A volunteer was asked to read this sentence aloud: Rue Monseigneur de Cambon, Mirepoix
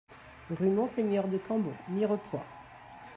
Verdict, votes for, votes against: accepted, 2, 1